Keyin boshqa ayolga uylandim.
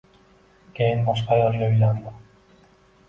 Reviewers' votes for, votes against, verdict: 2, 0, accepted